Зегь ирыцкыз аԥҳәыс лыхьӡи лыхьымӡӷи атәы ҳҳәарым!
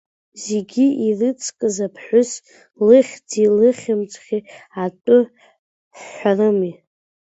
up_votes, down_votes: 0, 2